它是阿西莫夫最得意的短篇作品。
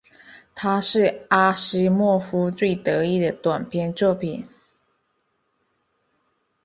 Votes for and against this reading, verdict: 2, 0, accepted